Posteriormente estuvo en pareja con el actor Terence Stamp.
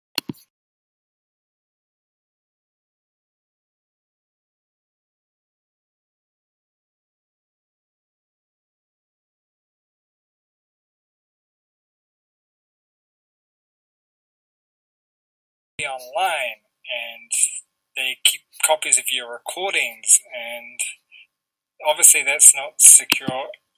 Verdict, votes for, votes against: rejected, 0, 2